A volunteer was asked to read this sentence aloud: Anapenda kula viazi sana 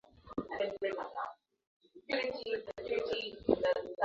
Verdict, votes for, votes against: rejected, 0, 2